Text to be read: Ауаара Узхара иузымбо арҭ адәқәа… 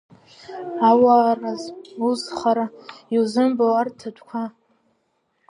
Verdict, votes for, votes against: rejected, 0, 2